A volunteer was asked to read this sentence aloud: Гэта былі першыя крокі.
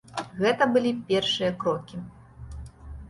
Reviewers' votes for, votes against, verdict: 2, 0, accepted